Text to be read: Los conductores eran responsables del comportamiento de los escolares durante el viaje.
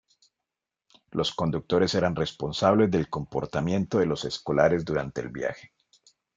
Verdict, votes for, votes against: accepted, 2, 0